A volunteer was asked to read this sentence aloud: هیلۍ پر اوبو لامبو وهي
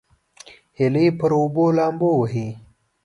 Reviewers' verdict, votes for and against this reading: accepted, 2, 0